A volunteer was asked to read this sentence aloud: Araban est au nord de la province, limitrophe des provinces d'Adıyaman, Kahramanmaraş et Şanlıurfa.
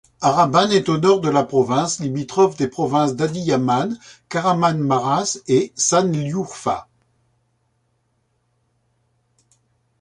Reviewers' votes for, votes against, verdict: 1, 2, rejected